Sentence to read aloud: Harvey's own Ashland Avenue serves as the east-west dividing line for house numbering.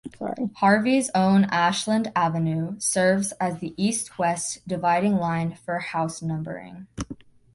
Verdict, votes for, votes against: rejected, 0, 2